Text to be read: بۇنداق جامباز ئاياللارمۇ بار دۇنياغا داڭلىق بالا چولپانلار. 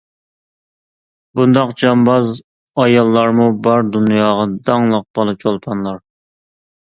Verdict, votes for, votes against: accepted, 2, 0